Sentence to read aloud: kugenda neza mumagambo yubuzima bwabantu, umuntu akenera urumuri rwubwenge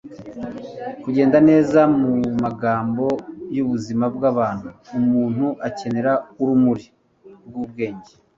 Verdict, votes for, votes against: accepted, 2, 0